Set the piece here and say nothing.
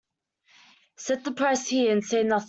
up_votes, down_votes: 0, 2